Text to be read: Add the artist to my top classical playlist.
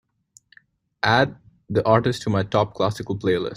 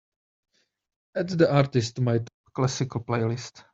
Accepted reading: first